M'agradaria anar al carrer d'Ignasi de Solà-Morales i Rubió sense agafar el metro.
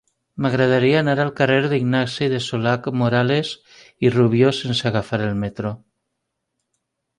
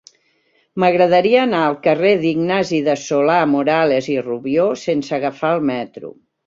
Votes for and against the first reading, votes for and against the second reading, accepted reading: 1, 2, 2, 0, second